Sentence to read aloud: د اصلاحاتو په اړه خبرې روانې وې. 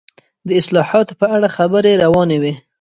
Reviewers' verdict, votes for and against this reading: rejected, 1, 2